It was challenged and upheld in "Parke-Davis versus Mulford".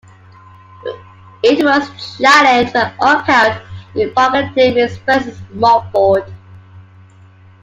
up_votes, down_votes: 1, 2